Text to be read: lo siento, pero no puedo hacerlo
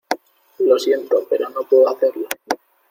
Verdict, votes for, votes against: accepted, 2, 0